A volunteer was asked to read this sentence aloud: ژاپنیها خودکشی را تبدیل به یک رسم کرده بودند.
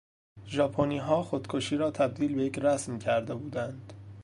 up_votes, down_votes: 2, 0